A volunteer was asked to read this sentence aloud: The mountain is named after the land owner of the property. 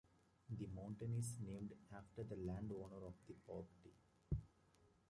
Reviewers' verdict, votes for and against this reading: rejected, 0, 2